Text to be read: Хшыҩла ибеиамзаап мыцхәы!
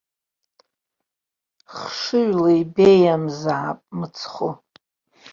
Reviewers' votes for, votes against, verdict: 2, 0, accepted